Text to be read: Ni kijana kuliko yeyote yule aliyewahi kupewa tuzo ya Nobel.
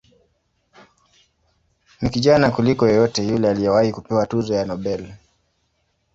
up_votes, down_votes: 2, 0